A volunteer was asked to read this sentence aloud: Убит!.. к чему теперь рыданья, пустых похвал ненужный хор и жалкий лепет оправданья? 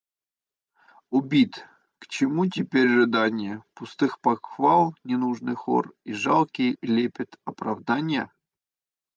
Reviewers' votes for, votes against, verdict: 1, 2, rejected